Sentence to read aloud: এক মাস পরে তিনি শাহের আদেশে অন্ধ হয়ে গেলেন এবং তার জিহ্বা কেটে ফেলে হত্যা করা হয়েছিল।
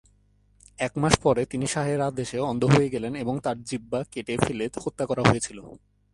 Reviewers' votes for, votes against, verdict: 3, 1, accepted